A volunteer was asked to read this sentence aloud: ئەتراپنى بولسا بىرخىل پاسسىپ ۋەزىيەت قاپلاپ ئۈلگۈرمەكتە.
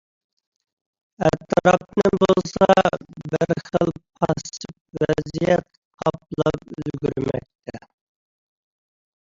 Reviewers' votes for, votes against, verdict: 0, 2, rejected